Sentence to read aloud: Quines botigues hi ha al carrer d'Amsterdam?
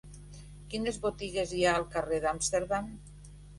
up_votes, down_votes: 3, 1